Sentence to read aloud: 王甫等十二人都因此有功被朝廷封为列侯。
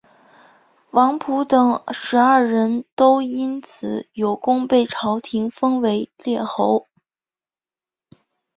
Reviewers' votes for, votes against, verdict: 4, 1, accepted